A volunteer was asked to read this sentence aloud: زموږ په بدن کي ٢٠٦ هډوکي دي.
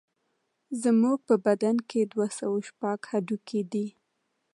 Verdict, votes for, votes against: rejected, 0, 2